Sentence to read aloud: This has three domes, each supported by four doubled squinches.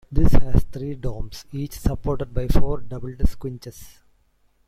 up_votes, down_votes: 2, 1